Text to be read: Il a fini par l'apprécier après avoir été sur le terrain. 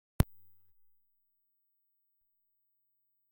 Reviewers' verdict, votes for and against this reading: rejected, 0, 2